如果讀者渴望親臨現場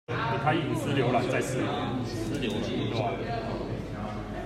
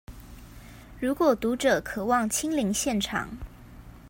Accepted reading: second